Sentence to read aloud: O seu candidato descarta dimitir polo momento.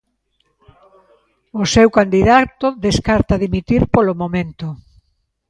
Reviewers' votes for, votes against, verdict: 2, 0, accepted